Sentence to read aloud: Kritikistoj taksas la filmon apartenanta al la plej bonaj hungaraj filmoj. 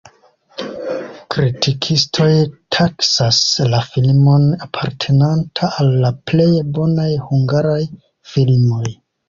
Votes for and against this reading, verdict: 2, 0, accepted